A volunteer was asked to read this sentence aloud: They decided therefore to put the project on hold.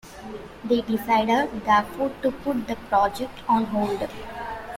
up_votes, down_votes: 2, 0